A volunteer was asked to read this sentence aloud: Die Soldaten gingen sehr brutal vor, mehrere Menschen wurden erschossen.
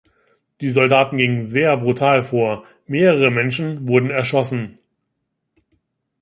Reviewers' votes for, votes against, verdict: 2, 0, accepted